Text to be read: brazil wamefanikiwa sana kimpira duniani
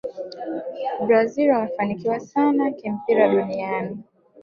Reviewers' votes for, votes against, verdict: 0, 2, rejected